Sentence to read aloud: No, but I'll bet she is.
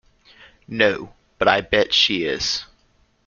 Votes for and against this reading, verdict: 1, 2, rejected